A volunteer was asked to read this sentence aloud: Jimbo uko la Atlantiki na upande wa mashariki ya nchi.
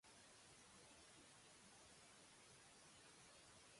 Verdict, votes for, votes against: rejected, 0, 2